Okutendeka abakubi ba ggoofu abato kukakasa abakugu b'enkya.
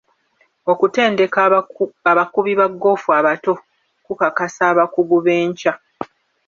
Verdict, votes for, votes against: rejected, 1, 2